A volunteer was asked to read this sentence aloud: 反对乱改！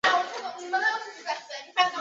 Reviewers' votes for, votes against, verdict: 3, 5, rejected